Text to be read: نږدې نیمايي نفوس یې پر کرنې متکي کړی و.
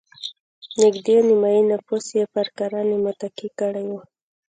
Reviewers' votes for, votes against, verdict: 2, 1, accepted